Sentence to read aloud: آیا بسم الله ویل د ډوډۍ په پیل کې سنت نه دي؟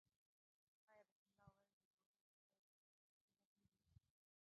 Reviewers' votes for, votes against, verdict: 1, 2, rejected